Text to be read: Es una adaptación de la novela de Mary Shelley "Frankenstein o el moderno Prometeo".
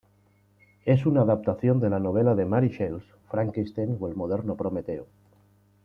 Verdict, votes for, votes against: accepted, 2, 0